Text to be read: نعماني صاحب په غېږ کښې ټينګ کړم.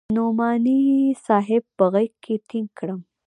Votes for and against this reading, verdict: 1, 2, rejected